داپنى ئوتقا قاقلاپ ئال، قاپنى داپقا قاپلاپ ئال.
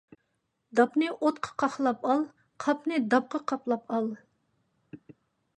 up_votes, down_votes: 2, 0